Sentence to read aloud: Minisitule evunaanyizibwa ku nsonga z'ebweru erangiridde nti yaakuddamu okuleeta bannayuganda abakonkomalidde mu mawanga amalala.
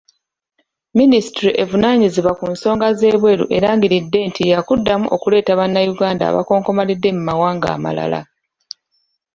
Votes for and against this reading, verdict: 2, 0, accepted